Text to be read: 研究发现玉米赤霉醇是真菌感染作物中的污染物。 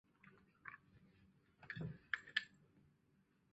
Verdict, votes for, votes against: rejected, 1, 2